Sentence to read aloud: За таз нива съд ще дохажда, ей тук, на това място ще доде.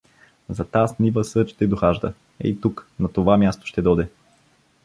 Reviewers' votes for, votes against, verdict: 2, 0, accepted